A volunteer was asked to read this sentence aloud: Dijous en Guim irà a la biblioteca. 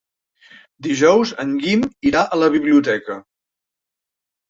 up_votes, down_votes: 3, 1